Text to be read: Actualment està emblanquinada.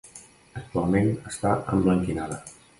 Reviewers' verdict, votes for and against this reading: rejected, 0, 2